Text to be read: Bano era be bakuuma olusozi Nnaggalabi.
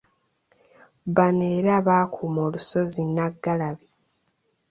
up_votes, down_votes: 1, 2